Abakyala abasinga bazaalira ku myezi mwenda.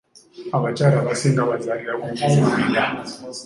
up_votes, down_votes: 2, 0